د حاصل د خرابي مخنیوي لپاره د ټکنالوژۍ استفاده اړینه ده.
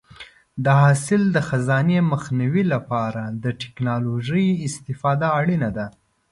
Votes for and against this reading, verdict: 1, 2, rejected